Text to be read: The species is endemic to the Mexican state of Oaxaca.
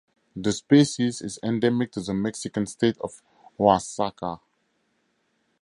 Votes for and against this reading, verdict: 4, 0, accepted